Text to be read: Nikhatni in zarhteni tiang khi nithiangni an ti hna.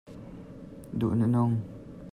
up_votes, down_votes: 0, 2